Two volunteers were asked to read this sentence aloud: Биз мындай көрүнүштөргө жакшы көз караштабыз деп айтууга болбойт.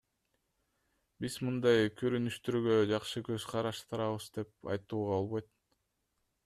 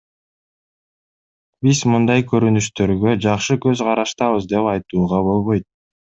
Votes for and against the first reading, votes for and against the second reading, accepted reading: 0, 2, 2, 0, second